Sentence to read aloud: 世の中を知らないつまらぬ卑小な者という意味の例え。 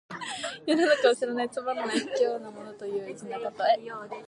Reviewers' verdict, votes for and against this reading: accepted, 2, 1